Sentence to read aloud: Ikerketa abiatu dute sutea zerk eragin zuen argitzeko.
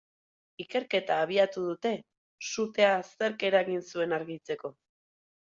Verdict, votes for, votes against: accepted, 6, 0